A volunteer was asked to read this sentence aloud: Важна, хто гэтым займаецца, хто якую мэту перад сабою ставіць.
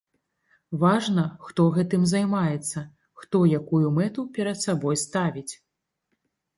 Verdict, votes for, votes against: rejected, 0, 2